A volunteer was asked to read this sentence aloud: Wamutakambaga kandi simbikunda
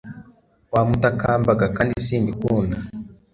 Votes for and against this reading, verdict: 3, 0, accepted